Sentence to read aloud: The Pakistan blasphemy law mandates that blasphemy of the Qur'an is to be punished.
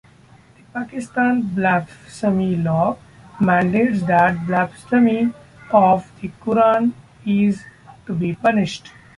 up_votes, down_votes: 0, 2